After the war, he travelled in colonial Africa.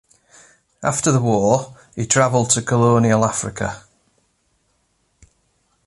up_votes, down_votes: 0, 2